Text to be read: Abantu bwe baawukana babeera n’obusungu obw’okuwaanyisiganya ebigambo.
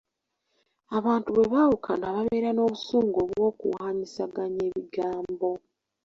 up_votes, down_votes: 1, 2